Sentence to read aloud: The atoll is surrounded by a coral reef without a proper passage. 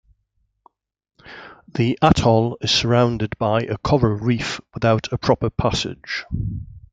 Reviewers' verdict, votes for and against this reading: accepted, 2, 0